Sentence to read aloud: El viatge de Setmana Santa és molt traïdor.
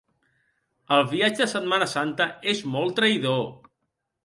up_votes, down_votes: 1, 2